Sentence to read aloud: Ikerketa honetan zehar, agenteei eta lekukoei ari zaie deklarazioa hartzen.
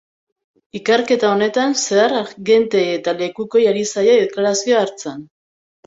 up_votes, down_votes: 1, 2